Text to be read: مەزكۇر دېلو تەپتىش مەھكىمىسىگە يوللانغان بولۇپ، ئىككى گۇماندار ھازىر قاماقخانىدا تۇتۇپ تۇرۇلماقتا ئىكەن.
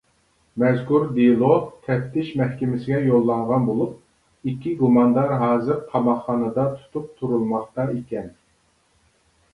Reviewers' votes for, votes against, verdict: 2, 0, accepted